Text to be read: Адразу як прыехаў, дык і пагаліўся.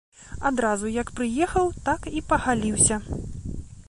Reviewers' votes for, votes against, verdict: 2, 3, rejected